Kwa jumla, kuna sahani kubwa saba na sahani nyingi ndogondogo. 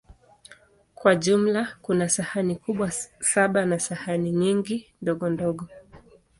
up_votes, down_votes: 2, 0